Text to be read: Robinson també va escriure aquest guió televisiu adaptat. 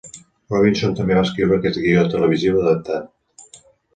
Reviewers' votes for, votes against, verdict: 3, 0, accepted